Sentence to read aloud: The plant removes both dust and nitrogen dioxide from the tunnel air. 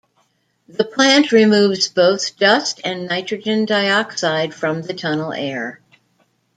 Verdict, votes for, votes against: accepted, 2, 0